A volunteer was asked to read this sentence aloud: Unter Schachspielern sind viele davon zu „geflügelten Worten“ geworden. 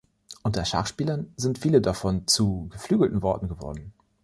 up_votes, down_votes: 1, 2